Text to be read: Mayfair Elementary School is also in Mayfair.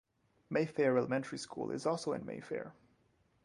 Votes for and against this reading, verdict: 0, 2, rejected